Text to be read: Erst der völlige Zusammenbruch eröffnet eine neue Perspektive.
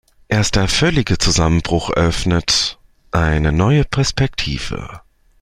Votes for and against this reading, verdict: 2, 0, accepted